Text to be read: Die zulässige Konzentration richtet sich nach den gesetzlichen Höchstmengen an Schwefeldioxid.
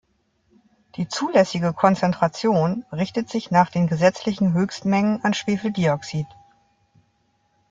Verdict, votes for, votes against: accepted, 2, 0